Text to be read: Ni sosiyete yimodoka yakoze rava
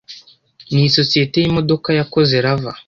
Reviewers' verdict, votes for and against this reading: accepted, 2, 0